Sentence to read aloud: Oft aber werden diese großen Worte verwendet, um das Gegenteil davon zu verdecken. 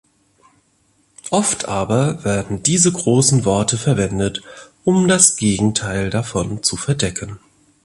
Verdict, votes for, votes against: accepted, 2, 0